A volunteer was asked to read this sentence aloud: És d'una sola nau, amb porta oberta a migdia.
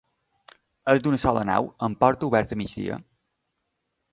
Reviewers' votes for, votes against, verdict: 2, 0, accepted